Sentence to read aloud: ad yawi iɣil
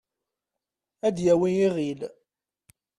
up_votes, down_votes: 0, 2